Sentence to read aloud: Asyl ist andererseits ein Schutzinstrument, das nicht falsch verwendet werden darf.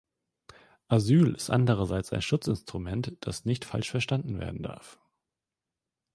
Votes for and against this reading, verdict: 0, 2, rejected